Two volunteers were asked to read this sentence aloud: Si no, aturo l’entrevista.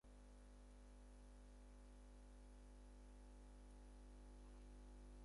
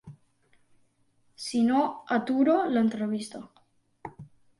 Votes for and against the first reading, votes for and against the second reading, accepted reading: 0, 4, 2, 0, second